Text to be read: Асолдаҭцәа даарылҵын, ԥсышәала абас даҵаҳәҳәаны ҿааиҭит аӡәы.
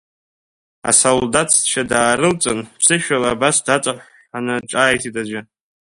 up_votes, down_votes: 1, 2